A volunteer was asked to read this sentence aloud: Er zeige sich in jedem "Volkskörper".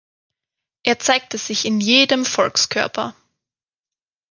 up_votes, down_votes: 1, 2